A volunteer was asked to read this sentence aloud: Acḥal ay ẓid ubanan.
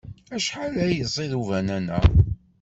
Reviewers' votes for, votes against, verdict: 1, 2, rejected